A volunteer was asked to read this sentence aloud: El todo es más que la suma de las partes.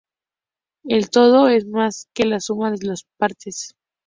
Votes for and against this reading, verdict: 2, 0, accepted